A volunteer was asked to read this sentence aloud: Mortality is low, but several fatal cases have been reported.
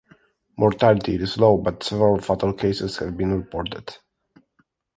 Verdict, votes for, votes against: accepted, 2, 0